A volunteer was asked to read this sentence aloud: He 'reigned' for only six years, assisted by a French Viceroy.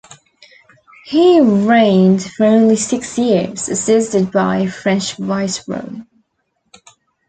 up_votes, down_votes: 2, 0